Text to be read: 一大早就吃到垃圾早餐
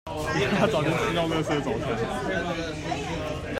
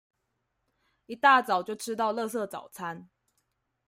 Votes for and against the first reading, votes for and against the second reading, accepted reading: 0, 2, 2, 0, second